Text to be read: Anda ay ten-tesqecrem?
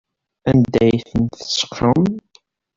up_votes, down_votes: 1, 2